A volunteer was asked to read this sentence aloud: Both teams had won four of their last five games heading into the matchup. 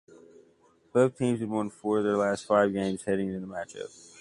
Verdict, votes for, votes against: accepted, 2, 1